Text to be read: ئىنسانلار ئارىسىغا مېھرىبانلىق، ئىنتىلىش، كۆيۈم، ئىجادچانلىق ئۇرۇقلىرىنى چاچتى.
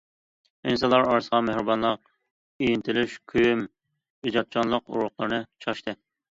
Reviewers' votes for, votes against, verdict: 2, 0, accepted